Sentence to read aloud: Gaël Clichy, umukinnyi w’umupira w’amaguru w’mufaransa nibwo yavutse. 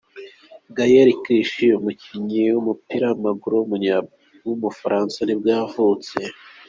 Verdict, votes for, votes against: rejected, 1, 2